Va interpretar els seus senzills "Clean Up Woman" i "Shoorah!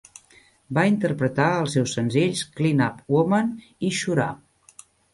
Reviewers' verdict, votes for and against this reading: accepted, 2, 0